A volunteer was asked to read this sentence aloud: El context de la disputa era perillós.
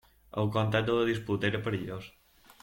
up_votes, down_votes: 0, 2